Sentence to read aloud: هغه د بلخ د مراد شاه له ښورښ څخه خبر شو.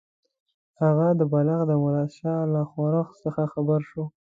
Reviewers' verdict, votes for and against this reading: accepted, 2, 1